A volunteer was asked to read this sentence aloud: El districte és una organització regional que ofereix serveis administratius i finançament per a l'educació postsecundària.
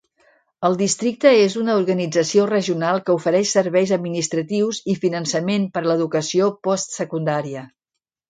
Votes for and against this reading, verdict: 1, 2, rejected